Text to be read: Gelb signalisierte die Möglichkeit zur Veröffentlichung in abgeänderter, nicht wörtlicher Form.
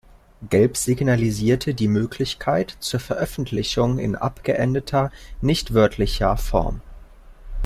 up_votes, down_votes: 1, 2